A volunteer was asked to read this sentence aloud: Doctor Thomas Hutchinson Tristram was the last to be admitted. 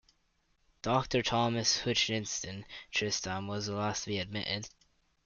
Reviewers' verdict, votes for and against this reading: rejected, 1, 2